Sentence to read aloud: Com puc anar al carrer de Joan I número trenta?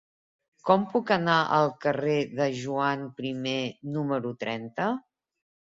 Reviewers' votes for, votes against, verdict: 1, 2, rejected